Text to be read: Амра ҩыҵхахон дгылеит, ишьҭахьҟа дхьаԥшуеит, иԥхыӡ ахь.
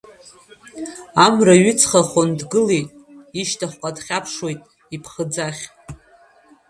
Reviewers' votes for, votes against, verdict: 2, 1, accepted